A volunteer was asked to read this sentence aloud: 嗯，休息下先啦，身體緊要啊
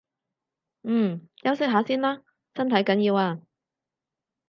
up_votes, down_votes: 4, 0